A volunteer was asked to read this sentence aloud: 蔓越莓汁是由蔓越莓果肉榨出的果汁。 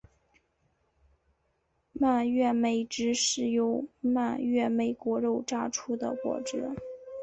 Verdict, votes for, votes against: accepted, 4, 0